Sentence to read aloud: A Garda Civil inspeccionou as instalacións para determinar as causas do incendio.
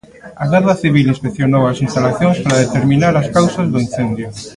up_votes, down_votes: 0, 2